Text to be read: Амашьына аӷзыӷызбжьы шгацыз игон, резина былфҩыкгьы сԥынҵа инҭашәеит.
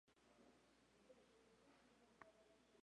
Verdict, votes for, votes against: rejected, 0, 2